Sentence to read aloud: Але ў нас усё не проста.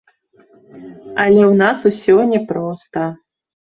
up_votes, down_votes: 2, 0